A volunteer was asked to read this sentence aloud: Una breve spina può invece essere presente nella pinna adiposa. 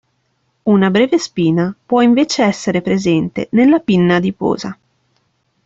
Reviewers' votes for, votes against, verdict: 2, 0, accepted